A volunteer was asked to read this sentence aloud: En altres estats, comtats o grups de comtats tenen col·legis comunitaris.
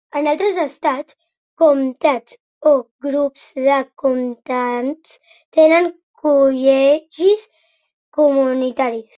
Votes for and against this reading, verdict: 1, 2, rejected